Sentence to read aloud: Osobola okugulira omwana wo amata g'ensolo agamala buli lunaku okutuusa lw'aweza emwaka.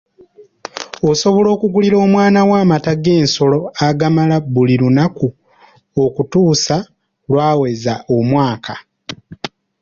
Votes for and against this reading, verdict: 2, 0, accepted